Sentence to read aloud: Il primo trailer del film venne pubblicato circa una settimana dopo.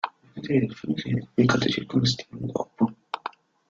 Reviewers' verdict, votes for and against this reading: rejected, 0, 2